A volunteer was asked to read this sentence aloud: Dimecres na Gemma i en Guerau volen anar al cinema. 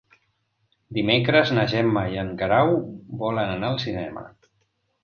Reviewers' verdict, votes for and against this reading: accepted, 2, 0